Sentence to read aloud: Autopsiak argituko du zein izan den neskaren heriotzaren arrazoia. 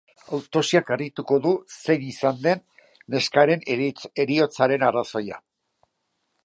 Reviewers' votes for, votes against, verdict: 0, 2, rejected